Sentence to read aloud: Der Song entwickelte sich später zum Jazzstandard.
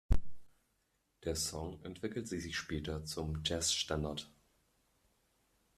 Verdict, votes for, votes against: rejected, 1, 2